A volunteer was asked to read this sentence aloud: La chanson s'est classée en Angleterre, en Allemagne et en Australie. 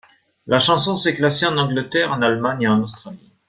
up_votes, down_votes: 3, 1